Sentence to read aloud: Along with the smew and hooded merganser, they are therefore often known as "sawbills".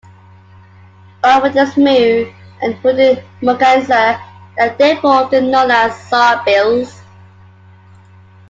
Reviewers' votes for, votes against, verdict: 2, 0, accepted